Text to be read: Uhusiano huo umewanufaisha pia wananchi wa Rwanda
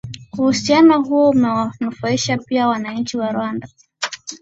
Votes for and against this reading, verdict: 5, 0, accepted